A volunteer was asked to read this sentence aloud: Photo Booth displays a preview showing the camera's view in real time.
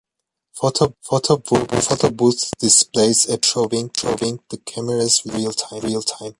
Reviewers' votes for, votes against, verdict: 0, 2, rejected